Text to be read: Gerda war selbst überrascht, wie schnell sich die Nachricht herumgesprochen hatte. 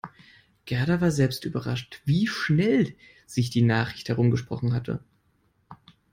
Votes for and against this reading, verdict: 2, 0, accepted